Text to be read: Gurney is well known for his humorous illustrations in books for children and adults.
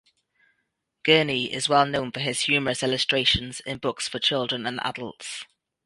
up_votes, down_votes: 2, 0